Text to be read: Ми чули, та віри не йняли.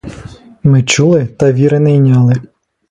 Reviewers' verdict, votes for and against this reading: rejected, 1, 2